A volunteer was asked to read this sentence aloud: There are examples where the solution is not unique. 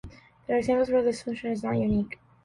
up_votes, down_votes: 1, 2